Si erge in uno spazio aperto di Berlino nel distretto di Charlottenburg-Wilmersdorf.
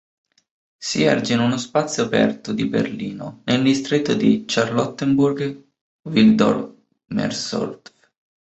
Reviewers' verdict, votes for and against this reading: rejected, 0, 2